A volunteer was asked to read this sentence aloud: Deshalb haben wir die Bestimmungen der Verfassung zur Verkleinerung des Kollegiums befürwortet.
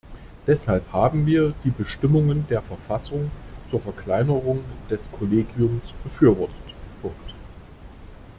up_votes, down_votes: 0, 2